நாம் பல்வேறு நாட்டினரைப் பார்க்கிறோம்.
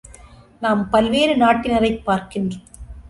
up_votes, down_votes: 1, 3